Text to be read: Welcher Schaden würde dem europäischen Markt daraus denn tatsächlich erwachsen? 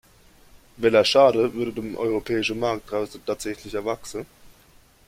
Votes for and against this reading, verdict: 2, 0, accepted